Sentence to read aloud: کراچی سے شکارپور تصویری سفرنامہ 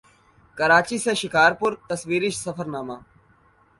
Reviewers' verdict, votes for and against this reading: accepted, 3, 0